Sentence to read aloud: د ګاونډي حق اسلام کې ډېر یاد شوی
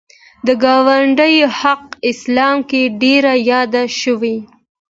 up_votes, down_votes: 1, 2